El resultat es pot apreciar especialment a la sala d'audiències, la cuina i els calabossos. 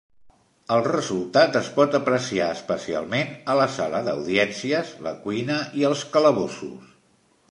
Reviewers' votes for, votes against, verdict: 3, 0, accepted